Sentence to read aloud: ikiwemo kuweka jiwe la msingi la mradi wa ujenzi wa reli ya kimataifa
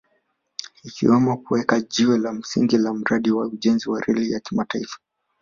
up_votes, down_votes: 2, 0